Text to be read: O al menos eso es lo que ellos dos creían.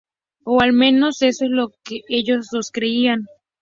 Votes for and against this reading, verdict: 6, 0, accepted